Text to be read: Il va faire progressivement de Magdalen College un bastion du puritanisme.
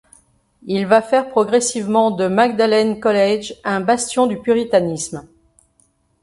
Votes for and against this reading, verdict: 3, 0, accepted